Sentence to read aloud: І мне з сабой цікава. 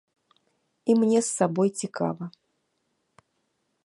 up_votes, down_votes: 2, 0